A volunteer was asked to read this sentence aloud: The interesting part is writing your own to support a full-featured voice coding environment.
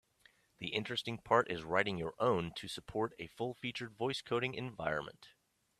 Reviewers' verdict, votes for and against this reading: accepted, 2, 0